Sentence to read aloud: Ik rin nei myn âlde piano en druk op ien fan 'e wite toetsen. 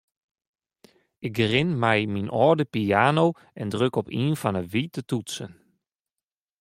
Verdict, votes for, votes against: rejected, 1, 2